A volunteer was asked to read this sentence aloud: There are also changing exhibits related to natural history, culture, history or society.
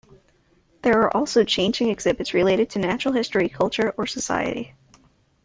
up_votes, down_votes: 0, 2